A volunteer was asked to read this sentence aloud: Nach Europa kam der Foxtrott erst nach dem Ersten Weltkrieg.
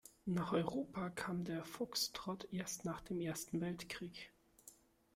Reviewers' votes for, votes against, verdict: 1, 2, rejected